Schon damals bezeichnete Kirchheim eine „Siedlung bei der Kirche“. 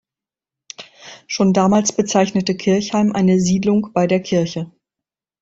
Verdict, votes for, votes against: accepted, 2, 0